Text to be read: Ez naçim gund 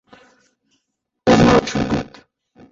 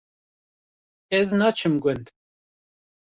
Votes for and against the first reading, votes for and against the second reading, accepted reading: 0, 2, 2, 0, second